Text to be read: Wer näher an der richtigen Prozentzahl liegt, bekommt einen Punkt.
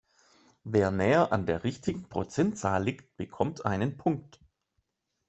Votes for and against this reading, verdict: 3, 0, accepted